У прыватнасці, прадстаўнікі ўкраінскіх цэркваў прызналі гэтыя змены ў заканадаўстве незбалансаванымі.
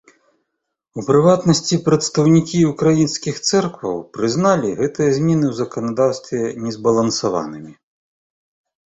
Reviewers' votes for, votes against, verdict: 2, 0, accepted